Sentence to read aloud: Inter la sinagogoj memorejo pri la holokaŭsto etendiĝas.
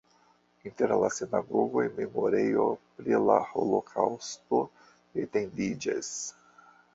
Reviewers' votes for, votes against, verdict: 1, 2, rejected